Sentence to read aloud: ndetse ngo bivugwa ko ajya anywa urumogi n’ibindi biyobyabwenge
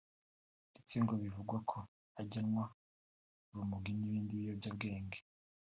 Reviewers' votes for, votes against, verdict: 2, 0, accepted